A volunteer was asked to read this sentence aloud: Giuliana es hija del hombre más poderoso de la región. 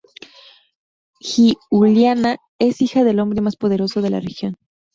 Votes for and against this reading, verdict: 0, 2, rejected